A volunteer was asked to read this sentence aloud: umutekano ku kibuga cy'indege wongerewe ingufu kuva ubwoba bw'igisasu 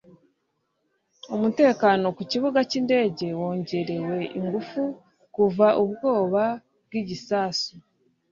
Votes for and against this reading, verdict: 2, 0, accepted